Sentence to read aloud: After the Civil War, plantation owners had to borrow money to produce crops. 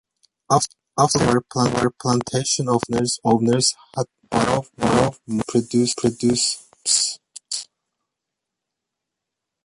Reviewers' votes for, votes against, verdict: 0, 2, rejected